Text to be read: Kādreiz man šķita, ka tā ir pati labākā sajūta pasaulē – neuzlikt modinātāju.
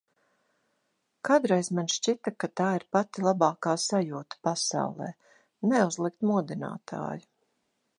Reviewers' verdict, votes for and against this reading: accepted, 2, 0